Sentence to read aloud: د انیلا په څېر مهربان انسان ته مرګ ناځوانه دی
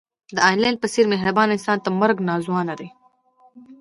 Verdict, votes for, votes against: accepted, 2, 1